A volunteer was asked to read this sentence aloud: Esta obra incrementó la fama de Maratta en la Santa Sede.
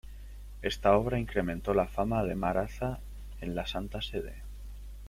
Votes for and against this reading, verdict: 2, 1, accepted